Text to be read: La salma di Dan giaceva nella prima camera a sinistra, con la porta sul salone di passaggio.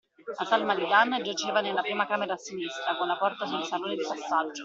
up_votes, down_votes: 0, 2